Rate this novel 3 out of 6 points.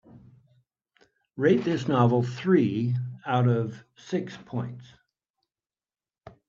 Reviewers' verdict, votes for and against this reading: rejected, 0, 2